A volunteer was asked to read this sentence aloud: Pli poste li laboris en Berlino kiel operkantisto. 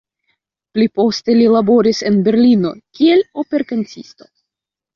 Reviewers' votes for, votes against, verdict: 0, 2, rejected